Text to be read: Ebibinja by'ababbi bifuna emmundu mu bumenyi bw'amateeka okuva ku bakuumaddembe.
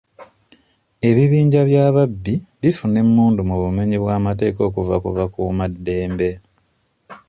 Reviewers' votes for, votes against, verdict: 2, 0, accepted